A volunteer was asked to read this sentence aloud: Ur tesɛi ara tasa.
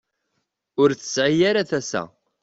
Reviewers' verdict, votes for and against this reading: accepted, 2, 0